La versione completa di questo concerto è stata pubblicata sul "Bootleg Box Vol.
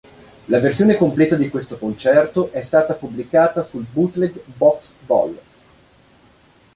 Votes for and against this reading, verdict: 2, 0, accepted